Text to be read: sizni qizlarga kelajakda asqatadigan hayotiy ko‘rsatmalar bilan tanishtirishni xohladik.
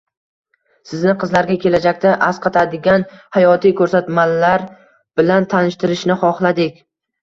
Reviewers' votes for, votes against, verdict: 1, 2, rejected